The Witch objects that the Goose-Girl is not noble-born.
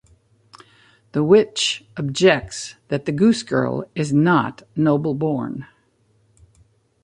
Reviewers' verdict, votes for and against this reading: accepted, 2, 0